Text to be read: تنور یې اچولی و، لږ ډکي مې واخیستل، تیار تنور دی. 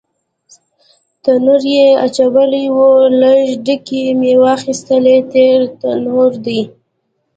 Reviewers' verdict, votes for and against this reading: accepted, 2, 1